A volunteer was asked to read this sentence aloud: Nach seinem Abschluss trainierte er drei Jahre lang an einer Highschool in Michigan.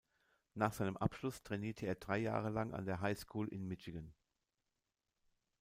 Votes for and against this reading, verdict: 1, 2, rejected